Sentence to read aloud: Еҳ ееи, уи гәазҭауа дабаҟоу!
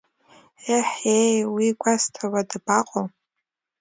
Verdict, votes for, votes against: accepted, 2, 0